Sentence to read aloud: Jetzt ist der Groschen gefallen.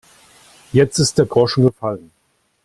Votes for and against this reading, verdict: 2, 0, accepted